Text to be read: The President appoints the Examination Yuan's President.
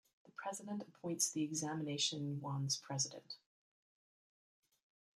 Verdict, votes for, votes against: accepted, 2, 0